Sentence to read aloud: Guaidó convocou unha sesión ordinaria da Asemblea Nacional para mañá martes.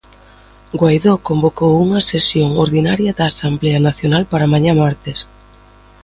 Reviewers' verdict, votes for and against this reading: accepted, 2, 1